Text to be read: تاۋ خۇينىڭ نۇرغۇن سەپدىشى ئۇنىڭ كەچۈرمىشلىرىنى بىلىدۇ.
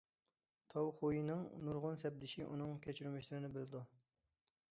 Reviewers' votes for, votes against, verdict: 2, 1, accepted